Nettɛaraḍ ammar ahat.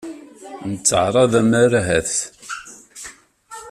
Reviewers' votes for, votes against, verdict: 2, 0, accepted